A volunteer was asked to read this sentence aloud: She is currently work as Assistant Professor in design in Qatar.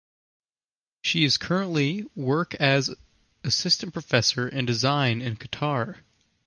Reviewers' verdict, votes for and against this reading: accepted, 2, 0